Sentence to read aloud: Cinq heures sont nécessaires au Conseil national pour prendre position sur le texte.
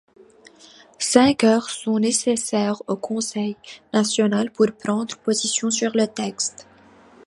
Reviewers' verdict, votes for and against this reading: accepted, 3, 0